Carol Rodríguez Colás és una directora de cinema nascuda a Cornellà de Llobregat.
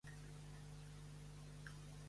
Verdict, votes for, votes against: rejected, 0, 3